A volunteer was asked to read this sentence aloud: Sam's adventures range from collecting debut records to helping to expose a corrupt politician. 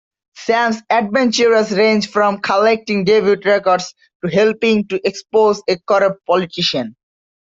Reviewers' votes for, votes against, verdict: 2, 0, accepted